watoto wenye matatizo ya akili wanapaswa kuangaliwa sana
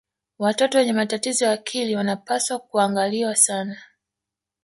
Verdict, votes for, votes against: accepted, 3, 1